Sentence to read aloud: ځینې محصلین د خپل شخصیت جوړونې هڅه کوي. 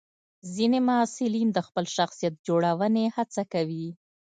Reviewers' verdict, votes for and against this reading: accepted, 2, 0